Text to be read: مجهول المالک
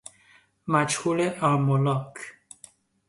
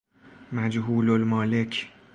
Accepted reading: second